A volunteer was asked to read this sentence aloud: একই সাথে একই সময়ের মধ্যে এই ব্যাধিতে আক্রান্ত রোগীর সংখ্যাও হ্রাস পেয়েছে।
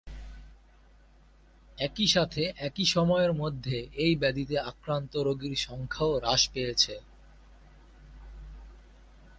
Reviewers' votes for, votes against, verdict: 2, 0, accepted